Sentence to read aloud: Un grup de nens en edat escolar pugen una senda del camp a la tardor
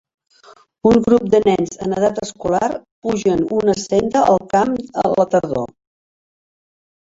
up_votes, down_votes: 0, 2